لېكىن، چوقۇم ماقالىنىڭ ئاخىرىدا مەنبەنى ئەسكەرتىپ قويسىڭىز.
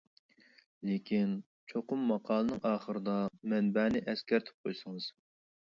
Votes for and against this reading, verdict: 2, 0, accepted